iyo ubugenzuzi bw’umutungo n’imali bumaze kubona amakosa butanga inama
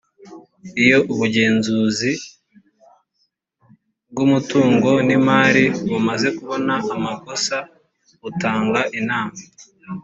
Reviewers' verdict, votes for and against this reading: accepted, 2, 1